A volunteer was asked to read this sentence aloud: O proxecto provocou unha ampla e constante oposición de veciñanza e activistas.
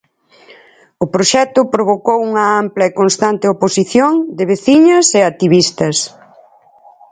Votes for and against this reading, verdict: 2, 4, rejected